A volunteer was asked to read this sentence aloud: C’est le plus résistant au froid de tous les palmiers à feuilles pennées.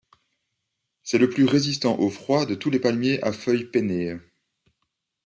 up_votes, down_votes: 2, 0